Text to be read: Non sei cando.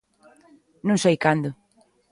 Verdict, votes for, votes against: accepted, 2, 0